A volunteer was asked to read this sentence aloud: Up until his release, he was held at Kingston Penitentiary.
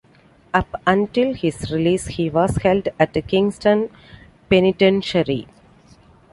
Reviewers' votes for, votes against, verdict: 2, 0, accepted